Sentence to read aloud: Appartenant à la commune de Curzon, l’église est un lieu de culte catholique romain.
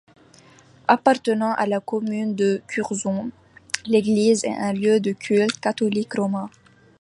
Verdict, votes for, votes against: accepted, 2, 0